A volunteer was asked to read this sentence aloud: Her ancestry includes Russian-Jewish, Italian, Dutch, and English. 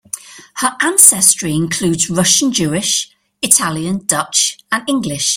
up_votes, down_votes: 2, 0